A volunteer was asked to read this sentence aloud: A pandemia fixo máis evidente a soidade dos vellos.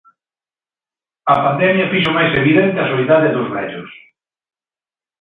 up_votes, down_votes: 2, 0